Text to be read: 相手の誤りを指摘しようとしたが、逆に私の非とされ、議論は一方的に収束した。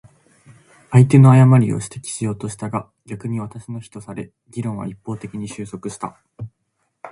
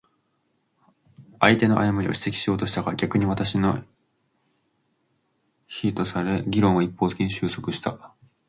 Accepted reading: first